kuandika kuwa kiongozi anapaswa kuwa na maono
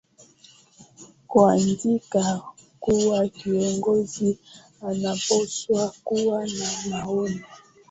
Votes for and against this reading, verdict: 2, 0, accepted